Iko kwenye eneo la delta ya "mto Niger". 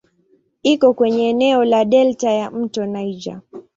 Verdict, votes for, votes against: accepted, 2, 0